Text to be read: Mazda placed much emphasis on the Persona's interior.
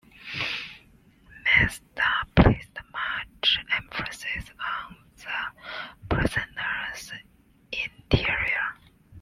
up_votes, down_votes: 2, 0